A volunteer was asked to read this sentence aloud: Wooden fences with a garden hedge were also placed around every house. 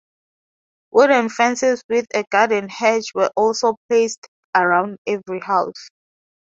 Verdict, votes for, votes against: accepted, 4, 0